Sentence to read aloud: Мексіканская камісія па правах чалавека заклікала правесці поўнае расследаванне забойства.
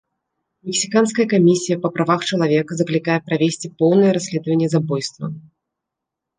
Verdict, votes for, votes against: rejected, 0, 2